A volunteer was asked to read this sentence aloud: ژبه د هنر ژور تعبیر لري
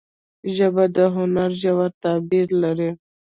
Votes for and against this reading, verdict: 3, 2, accepted